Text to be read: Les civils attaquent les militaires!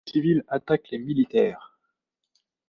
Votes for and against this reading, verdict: 1, 2, rejected